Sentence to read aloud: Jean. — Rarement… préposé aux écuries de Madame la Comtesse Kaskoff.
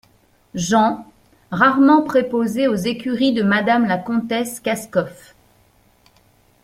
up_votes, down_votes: 2, 0